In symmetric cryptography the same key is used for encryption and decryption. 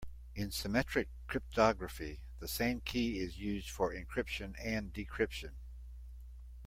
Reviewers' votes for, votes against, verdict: 2, 1, accepted